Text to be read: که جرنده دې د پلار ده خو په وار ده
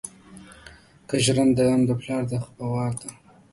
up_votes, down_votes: 0, 2